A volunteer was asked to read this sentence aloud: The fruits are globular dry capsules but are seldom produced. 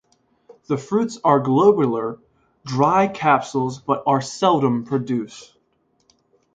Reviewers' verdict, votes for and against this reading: accepted, 2, 0